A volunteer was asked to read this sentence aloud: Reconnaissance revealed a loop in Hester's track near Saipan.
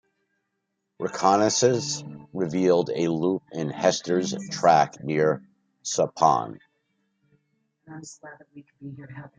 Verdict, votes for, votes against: rejected, 1, 2